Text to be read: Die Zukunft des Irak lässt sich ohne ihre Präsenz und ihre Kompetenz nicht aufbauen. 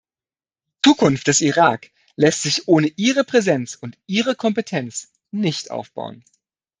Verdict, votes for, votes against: rejected, 0, 2